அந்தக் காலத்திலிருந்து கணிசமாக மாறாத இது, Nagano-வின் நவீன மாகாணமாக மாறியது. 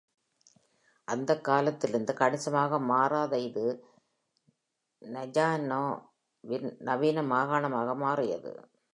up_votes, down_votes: 1, 2